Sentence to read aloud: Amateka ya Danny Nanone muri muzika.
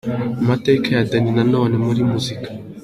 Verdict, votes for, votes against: accepted, 2, 0